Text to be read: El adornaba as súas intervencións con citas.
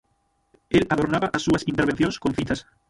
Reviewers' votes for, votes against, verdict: 0, 6, rejected